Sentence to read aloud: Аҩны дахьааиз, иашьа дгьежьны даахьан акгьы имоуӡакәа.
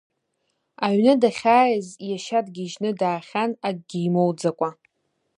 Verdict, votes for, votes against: accepted, 2, 0